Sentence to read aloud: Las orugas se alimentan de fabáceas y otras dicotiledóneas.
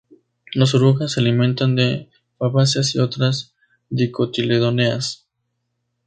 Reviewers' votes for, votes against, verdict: 2, 0, accepted